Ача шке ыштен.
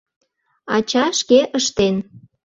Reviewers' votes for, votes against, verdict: 2, 0, accepted